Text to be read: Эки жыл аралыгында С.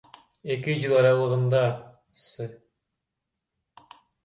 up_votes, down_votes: 2, 0